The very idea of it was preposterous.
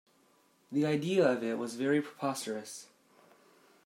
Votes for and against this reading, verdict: 0, 2, rejected